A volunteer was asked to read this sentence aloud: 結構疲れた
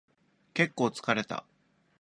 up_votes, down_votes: 2, 0